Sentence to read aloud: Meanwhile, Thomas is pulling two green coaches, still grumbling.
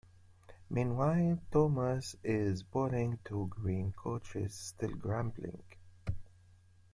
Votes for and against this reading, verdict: 2, 0, accepted